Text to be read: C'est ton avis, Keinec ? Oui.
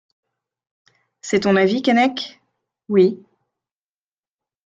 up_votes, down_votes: 2, 0